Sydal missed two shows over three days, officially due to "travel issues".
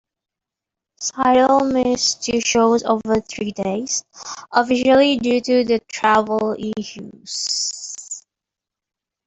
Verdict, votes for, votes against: accepted, 2, 0